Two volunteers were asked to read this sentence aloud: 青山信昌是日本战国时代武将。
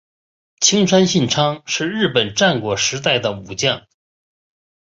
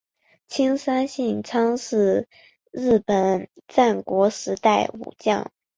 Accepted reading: second